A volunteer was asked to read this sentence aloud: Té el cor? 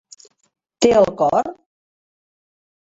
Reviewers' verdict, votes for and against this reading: accepted, 3, 0